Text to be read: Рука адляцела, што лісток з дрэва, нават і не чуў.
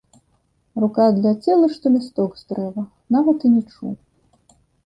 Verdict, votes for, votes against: accepted, 2, 0